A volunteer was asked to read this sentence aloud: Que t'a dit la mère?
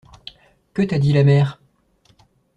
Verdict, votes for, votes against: accepted, 2, 0